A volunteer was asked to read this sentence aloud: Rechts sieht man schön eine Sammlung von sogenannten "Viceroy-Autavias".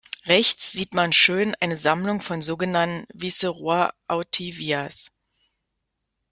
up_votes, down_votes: 1, 2